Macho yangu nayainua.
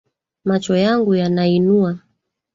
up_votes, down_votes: 2, 3